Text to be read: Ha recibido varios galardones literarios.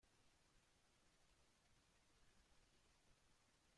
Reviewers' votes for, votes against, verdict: 0, 2, rejected